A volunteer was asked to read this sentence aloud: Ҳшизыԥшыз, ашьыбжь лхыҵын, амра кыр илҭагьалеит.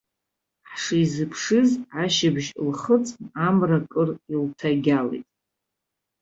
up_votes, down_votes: 1, 2